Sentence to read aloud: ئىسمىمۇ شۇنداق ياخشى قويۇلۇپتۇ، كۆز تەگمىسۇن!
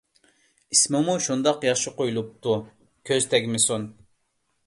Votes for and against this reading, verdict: 2, 0, accepted